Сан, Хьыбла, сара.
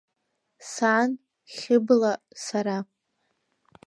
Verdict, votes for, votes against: accepted, 2, 1